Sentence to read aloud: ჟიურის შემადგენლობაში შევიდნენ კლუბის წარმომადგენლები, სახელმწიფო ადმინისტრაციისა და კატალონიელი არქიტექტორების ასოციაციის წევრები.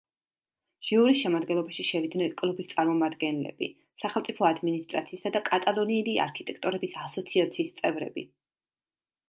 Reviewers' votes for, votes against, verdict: 2, 0, accepted